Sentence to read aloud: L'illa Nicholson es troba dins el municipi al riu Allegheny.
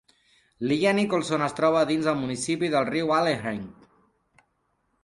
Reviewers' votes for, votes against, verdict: 2, 3, rejected